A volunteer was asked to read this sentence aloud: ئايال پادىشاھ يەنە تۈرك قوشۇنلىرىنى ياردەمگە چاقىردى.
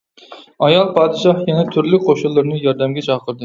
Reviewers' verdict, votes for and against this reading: rejected, 0, 2